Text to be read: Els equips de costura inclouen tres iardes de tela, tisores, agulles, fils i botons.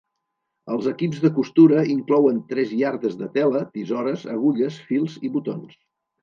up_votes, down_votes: 2, 0